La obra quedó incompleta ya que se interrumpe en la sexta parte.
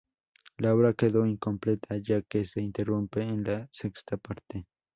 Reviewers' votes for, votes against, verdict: 2, 0, accepted